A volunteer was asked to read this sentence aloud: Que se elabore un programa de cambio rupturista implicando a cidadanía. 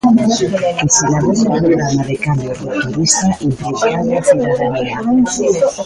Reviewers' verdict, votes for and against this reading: rejected, 0, 2